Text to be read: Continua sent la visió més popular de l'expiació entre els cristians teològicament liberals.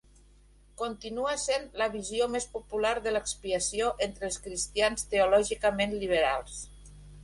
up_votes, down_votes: 2, 0